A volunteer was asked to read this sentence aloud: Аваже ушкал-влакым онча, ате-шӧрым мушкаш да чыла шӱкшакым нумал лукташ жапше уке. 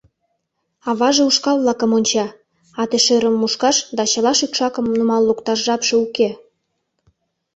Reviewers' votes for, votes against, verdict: 2, 0, accepted